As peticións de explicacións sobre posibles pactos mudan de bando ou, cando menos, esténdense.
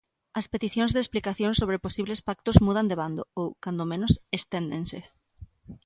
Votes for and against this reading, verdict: 2, 0, accepted